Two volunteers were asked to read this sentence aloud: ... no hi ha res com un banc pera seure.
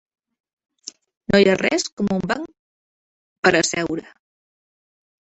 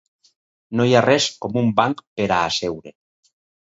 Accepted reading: second